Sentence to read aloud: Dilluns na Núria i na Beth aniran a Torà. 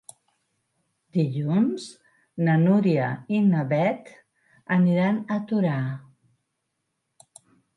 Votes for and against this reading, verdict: 6, 0, accepted